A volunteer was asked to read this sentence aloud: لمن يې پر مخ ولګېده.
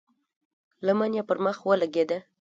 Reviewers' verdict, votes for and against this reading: rejected, 0, 2